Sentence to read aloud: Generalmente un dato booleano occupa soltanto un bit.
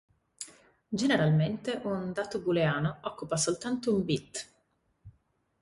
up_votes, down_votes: 2, 0